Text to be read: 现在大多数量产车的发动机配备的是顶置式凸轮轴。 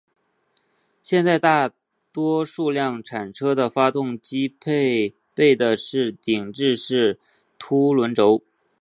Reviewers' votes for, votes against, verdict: 2, 0, accepted